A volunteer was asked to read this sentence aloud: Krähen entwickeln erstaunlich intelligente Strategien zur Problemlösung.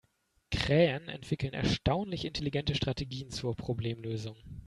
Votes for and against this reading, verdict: 2, 0, accepted